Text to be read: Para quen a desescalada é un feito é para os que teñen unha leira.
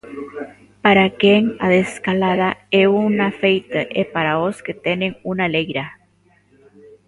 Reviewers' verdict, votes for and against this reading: rejected, 0, 2